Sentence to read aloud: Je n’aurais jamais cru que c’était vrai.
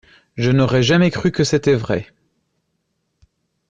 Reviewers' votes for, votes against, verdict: 2, 0, accepted